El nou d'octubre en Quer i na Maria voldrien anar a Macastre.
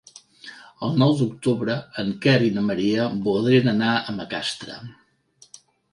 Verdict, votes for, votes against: accepted, 3, 0